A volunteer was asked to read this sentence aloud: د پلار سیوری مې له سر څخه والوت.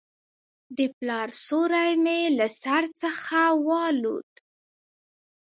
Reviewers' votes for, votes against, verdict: 2, 0, accepted